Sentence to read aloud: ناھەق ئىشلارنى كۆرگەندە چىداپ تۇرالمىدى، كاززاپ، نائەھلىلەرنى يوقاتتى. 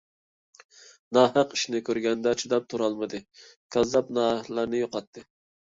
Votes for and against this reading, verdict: 0, 2, rejected